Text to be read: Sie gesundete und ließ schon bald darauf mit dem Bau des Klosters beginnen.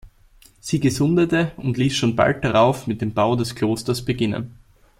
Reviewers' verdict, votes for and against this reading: accepted, 2, 0